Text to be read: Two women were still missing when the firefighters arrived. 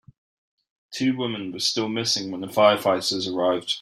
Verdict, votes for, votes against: accepted, 3, 0